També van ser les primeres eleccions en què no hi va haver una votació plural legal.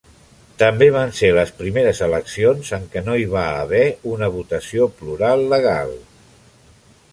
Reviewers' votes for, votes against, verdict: 3, 0, accepted